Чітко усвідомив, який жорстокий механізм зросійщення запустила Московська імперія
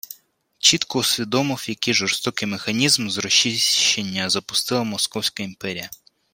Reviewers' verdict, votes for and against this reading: rejected, 1, 2